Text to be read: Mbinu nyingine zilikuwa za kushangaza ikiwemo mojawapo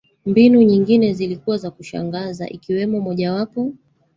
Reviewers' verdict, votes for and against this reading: rejected, 0, 2